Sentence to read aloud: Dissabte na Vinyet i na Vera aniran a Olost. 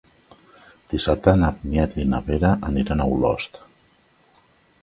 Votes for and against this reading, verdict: 3, 0, accepted